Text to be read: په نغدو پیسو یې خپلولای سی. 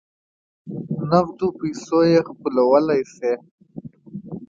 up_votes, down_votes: 2, 0